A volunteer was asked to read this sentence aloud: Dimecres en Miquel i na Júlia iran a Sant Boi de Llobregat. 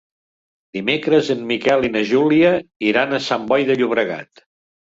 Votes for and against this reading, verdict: 1, 2, rejected